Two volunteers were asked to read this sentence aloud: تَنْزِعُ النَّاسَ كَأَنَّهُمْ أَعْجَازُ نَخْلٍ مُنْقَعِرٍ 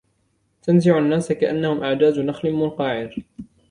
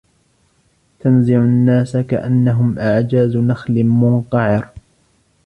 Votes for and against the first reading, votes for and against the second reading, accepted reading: 2, 1, 1, 2, first